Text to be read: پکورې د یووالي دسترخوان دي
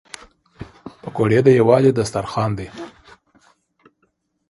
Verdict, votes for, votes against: accepted, 2, 0